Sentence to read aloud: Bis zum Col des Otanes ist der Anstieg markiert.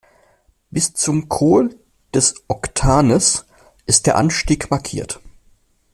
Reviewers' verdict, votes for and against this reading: rejected, 0, 2